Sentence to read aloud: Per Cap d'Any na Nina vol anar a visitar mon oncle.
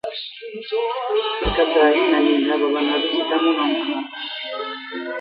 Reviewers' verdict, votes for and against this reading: rejected, 0, 2